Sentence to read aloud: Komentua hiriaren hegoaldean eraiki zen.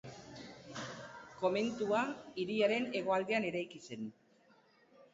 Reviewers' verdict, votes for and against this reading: rejected, 0, 2